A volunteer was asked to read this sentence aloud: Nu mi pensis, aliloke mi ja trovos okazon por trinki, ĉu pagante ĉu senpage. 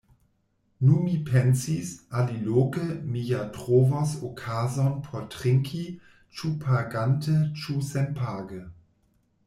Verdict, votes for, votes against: rejected, 1, 2